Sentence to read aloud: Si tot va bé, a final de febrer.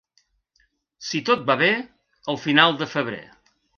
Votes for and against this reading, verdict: 0, 2, rejected